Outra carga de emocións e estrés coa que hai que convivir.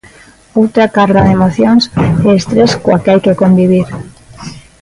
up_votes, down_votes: 1, 2